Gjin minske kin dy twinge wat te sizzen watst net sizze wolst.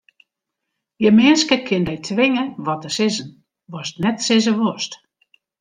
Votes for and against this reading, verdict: 0, 2, rejected